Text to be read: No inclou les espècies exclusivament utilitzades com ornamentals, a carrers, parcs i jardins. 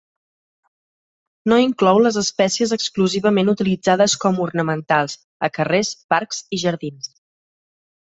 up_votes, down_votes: 3, 0